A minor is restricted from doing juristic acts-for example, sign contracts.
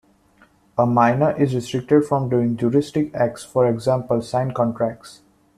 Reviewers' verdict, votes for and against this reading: rejected, 1, 2